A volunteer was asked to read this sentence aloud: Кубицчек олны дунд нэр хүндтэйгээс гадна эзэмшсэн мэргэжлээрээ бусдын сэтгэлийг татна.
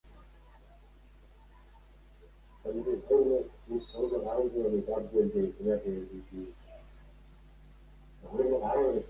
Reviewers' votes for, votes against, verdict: 0, 2, rejected